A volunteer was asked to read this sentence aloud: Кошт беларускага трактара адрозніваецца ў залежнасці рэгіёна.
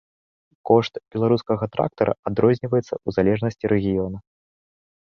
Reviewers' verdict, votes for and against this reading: accepted, 2, 0